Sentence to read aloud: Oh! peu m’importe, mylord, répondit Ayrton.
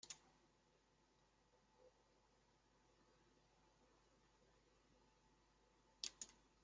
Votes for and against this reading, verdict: 1, 2, rejected